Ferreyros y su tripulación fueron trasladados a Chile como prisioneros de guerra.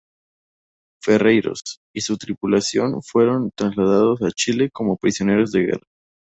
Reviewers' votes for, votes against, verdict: 2, 0, accepted